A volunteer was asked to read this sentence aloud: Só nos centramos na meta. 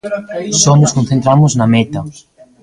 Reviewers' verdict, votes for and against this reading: rejected, 0, 2